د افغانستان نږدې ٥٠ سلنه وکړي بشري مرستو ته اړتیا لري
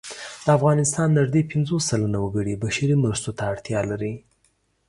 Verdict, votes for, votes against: rejected, 0, 2